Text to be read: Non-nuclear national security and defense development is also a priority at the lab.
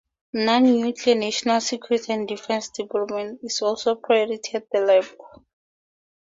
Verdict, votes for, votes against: accepted, 4, 0